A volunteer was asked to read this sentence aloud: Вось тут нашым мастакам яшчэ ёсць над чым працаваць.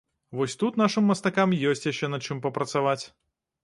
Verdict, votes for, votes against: rejected, 0, 3